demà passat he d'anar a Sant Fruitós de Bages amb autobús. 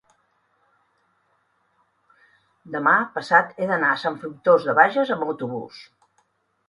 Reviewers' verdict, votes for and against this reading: rejected, 1, 2